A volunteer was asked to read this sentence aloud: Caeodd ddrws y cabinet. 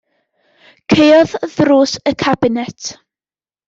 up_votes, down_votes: 2, 0